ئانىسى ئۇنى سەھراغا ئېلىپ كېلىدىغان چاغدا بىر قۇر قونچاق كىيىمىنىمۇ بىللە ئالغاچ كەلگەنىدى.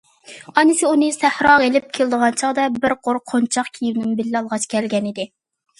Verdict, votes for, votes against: accepted, 2, 0